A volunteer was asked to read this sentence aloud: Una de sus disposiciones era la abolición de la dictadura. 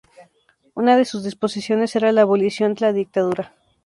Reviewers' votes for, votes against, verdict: 2, 0, accepted